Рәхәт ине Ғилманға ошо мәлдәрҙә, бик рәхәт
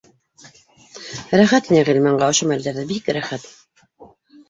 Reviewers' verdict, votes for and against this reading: accepted, 2, 0